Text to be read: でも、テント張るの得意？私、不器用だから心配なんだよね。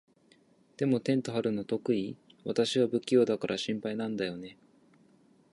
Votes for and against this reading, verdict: 0, 2, rejected